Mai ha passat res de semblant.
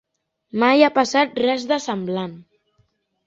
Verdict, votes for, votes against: accepted, 3, 0